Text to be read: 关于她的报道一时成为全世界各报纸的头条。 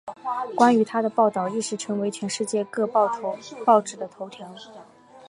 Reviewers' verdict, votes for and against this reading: accepted, 2, 1